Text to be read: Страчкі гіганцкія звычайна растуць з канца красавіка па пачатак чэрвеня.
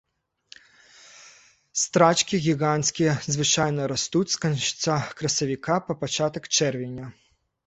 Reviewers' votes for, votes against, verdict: 1, 2, rejected